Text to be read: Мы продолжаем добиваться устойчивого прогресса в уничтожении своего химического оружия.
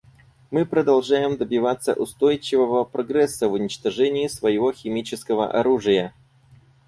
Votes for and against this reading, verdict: 4, 0, accepted